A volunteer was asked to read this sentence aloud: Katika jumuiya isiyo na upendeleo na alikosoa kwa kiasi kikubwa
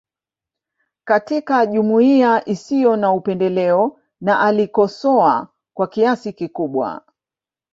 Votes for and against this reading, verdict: 0, 2, rejected